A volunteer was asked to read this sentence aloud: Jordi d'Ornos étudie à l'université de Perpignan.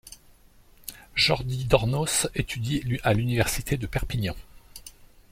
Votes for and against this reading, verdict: 0, 2, rejected